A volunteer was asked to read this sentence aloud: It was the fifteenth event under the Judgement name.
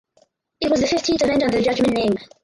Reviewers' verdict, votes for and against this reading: rejected, 0, 4